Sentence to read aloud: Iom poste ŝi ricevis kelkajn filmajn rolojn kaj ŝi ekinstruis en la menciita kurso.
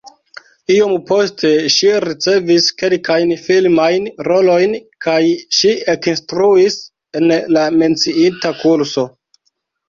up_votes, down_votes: 2, 1